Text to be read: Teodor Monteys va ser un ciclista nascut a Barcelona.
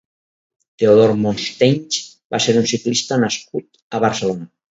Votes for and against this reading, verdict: 2, 2, rejected